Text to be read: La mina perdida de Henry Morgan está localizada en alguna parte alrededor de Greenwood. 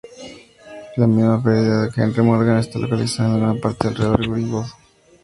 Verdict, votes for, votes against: rejected, 0, 2